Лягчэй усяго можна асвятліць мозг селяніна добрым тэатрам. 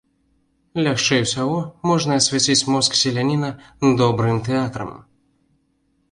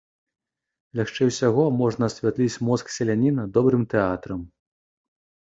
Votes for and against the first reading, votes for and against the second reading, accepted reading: 1, 2, 2, 0, second